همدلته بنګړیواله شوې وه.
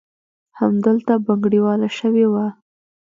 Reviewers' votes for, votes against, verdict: 2, 0, accepted